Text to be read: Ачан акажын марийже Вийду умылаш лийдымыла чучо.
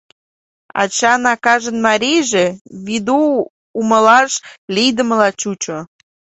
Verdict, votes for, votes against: accepted, 2, 0